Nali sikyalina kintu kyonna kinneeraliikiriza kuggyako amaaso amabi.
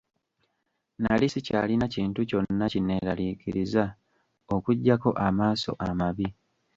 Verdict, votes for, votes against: rejected, 0, 2